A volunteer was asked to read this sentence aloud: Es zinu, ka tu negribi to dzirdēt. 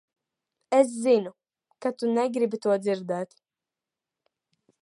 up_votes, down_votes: 2, 0